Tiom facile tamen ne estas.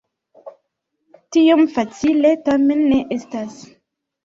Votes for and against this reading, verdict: 2, 0, accepted